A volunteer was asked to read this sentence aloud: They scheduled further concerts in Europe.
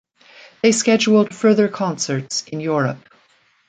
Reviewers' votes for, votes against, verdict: 2, 0, accepted